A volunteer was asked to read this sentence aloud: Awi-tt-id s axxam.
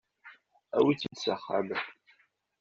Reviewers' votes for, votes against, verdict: 2, 0, accepted